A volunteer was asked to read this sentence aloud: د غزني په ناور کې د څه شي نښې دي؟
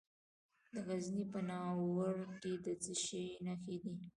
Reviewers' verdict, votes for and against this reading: rejected, 1, 2